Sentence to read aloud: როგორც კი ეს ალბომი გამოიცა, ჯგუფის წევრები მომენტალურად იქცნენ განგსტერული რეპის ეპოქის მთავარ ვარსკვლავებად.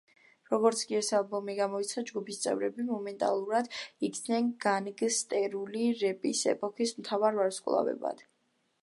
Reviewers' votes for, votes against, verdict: 2, 0, accepted